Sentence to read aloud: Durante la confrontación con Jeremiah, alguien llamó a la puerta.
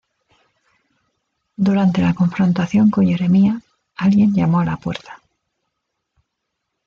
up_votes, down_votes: 2, 0